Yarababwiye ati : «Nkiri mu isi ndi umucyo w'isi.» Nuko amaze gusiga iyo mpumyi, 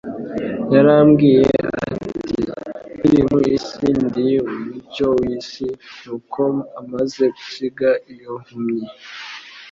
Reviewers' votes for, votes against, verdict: 0, 2, rejected